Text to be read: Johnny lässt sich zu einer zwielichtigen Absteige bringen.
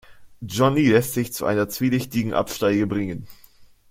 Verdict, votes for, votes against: accepted, 2, 0